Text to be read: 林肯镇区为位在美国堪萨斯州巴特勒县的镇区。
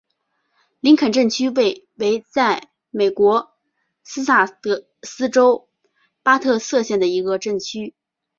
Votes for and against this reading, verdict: 1, 3, rejected